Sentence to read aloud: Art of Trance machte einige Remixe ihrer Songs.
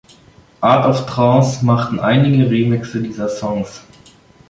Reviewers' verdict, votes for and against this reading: rejected, 0, 2